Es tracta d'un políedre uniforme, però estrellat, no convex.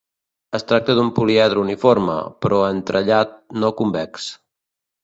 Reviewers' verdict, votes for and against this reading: rejected, 1, 2